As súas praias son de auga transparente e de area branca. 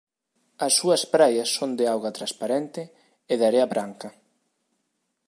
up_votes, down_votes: 2, 0